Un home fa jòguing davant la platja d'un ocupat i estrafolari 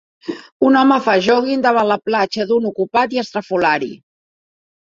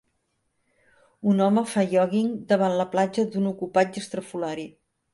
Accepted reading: first